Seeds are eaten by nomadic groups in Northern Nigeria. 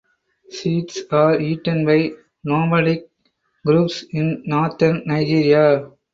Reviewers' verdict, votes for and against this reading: accepted, 4, 2